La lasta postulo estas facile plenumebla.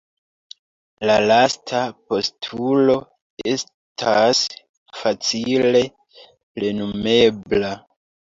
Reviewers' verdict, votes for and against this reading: accepted, 2, 0